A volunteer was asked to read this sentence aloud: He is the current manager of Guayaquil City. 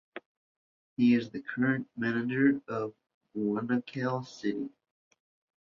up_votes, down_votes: 2, 0